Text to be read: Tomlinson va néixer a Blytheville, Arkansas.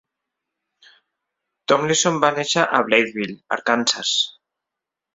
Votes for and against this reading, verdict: 2, 0, accepted